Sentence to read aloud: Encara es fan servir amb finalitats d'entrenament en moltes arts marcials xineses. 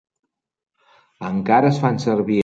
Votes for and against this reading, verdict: 0, 2, rejected